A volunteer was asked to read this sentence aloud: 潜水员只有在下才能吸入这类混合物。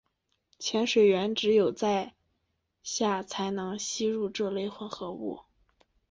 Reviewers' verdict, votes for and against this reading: accepted, 2, 0